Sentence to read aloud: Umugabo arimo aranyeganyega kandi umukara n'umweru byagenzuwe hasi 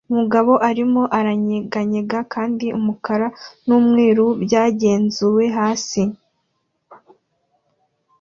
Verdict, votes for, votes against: accepted, 2, 0